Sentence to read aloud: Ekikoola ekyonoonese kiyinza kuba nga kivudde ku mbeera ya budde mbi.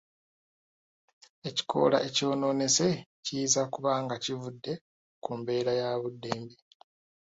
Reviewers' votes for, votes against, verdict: 2, 0, accepted